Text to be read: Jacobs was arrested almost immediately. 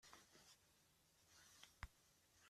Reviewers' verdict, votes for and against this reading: rejected, 0, 2